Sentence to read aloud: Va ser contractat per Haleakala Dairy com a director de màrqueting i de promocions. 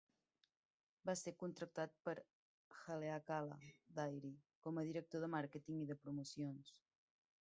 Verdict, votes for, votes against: accepted, 2, 0